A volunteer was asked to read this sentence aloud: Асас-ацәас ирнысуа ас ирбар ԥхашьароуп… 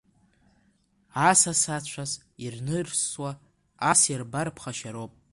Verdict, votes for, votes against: accepted, 2, 1